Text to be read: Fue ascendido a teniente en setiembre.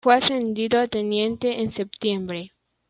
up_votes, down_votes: 2, 0